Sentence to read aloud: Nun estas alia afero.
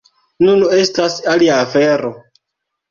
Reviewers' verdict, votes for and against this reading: rejected, 0, 2